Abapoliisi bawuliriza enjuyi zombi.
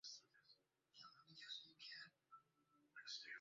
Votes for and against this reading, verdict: 0, 2, rejected